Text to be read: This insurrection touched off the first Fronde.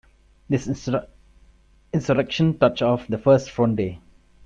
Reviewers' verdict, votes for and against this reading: rejected, 0, 2